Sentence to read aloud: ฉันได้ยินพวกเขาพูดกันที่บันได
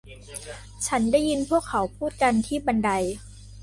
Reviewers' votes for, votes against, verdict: 2, 0, accepted